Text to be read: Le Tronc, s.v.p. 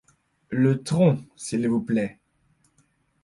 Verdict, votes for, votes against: rejected, 1, 2